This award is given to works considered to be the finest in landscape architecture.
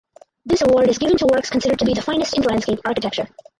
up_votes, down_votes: 4, 2